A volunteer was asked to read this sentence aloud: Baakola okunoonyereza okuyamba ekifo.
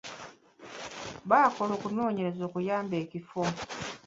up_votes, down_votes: 0, 2